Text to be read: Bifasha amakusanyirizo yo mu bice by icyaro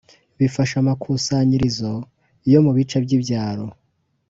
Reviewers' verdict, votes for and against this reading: rejected, 0, 2